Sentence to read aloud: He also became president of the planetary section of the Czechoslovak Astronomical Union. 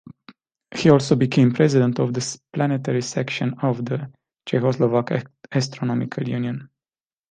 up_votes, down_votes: 1, 2